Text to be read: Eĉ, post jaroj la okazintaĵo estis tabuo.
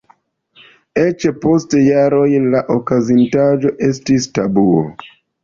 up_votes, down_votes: 2, 0